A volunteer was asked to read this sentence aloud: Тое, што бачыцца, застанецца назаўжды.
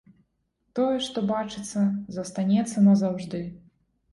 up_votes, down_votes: 2, 0